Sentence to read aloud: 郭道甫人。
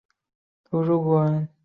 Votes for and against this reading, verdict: 6, 0, accepted